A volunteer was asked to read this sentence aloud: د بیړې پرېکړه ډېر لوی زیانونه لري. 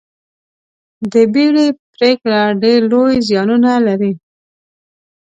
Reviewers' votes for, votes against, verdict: 2, 0, accepted